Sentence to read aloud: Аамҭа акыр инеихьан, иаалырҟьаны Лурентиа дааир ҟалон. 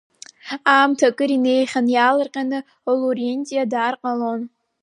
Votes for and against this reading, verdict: 2, 0, accepted